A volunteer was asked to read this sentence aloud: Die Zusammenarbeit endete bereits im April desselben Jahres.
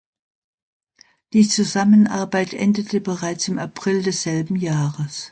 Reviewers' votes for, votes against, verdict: 2, 0, accepted